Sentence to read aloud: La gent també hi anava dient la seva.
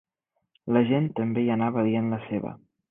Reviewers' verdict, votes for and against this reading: accepted, 2, 0